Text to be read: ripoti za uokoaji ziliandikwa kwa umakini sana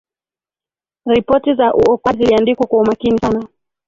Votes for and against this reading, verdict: 0, 2, rejected